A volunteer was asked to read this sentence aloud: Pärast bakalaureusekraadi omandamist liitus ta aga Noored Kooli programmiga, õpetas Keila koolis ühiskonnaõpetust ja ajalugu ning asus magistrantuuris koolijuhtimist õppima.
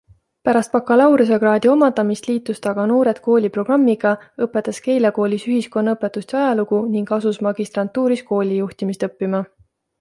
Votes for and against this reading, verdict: 2, 0, accepted